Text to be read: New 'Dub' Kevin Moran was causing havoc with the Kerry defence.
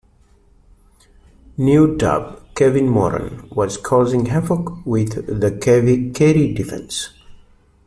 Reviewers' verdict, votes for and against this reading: rejected, 1, 2